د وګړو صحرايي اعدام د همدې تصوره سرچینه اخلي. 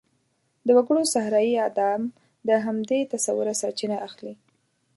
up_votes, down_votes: 2, 0